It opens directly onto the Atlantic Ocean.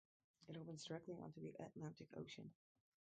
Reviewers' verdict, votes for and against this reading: rejected, 0, 4